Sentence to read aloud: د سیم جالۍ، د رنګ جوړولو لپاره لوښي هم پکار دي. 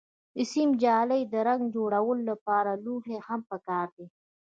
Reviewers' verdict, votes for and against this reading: rejected, 1, 2